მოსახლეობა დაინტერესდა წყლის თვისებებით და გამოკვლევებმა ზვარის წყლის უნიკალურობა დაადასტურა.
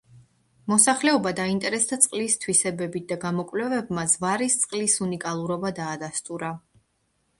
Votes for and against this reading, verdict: 2, 0, accepted